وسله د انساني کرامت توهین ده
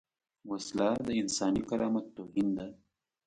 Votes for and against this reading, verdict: 2, 0, accepted